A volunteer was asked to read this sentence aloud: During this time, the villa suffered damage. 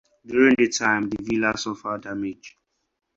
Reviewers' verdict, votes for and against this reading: rejected, 0, 4